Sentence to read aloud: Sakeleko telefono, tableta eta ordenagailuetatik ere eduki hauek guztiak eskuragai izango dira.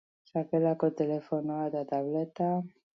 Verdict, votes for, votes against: accepted, 2, 0